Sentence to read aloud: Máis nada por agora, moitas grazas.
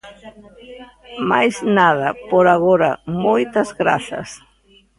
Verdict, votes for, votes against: rejected, 0, 2